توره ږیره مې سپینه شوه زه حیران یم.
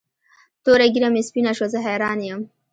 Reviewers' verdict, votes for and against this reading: accepted, 2, 0